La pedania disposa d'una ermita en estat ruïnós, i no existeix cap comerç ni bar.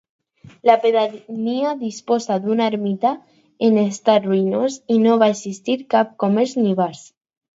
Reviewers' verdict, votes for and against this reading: rejected, 0, 4